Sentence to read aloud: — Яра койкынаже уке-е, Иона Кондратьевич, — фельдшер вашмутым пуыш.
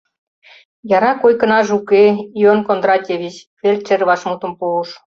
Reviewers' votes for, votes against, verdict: 0, 2, rejected